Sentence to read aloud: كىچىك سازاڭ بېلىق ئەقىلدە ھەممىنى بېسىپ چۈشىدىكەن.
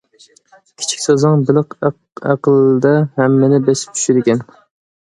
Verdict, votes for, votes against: rejected, 0, 2